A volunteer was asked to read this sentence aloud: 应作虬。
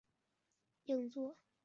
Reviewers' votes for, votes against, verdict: 3, 1, accepted